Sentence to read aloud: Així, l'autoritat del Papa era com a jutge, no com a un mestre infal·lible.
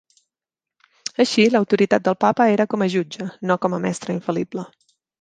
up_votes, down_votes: 0, 2